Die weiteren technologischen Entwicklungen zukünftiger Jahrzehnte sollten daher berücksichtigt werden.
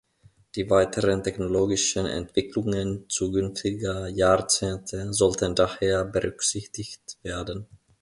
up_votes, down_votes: 2, 1